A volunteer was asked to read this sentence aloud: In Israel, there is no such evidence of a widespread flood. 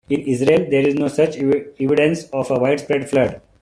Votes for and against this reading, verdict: 0, 2, rejected